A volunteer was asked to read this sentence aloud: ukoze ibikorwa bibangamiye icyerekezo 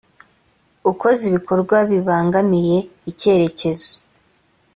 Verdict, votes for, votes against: accepted, 3, 0